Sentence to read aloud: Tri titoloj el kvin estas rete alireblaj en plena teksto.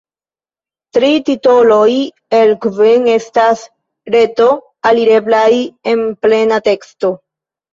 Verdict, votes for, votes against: rejected, 0, 2